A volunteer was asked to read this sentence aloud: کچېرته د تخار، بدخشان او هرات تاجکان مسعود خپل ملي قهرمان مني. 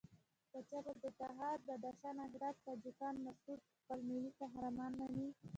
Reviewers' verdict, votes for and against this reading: rejected, 1, 2